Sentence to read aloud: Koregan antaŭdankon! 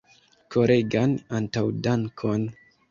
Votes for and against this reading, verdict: 2, 0, accepted